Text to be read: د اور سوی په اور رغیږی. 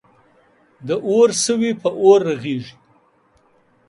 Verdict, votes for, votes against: rejected, 1, 2